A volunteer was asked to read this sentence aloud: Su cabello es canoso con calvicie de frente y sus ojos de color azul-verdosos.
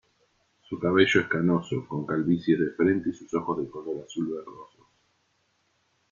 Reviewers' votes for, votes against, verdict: 1, 2, rejected